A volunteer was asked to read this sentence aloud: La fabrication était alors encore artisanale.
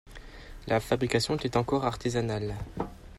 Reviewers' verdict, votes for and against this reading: rejected, 2, 3